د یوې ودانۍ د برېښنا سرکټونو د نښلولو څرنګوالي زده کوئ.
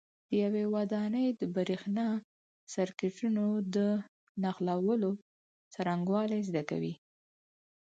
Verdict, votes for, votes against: accepted, 4, 0